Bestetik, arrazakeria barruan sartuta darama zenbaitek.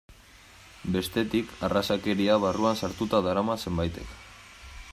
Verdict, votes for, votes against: accepted, 2, 0